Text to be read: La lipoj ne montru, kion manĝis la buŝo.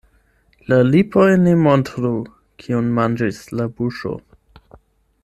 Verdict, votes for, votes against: accepted, 8, 0